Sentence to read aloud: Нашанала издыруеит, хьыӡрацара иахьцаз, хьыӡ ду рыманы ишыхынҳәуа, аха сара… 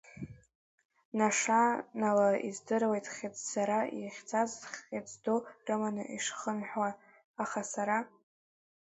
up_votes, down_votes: 2, 0